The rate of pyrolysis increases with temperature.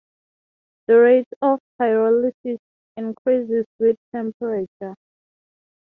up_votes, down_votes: 0, 6